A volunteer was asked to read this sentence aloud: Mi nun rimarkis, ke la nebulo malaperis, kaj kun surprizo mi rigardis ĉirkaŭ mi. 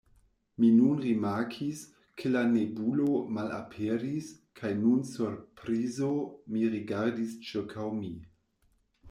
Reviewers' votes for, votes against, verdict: 0, 2, rejected